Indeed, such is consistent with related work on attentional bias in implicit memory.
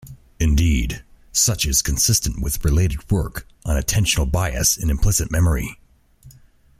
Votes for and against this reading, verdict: 2, 0, accepted